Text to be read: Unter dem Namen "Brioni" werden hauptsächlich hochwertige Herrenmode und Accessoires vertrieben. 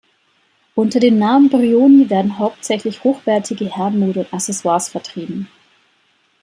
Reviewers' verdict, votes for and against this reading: accepted, 2, 0